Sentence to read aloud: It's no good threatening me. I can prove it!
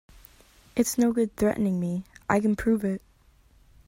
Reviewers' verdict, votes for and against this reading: accepted, 2, 0